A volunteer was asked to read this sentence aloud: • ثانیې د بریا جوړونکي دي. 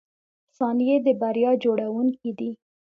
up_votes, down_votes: 2, 0